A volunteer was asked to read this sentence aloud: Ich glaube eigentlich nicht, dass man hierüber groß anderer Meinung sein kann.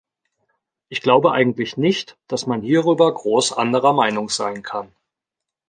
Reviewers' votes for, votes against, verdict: 2, 0, accepted